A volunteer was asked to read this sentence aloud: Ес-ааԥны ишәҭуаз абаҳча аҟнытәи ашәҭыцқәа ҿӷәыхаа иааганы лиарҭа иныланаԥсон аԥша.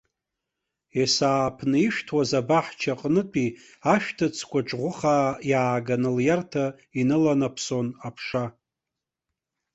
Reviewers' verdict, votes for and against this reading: rejected, 0, 2